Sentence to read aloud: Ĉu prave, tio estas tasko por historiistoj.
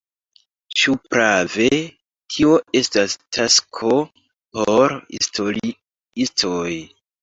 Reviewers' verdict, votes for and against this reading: rejected, 1, 2